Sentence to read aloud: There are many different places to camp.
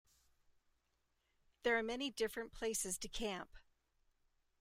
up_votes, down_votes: 2, 0